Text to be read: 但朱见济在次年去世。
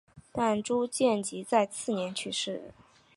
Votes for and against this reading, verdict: 3, 0, accepted